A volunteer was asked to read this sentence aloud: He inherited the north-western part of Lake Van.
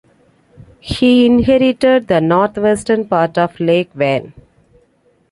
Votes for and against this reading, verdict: 3, 0, accepted